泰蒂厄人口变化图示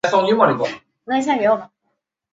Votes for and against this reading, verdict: 0, 4, rejected